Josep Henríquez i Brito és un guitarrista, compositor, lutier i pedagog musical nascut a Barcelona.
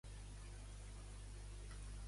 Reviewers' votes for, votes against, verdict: 0, 2, rejected